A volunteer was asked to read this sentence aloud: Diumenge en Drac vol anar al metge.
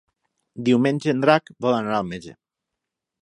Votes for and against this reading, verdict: 3, 3, rejected